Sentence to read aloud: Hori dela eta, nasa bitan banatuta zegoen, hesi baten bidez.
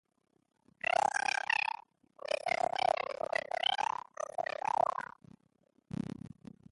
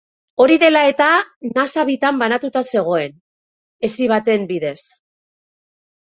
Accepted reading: second